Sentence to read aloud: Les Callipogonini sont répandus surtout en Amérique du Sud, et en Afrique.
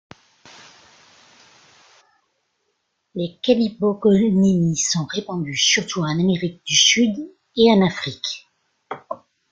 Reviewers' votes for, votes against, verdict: 1, 2, rejected